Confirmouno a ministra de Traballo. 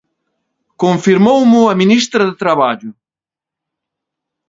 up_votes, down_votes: 1, 2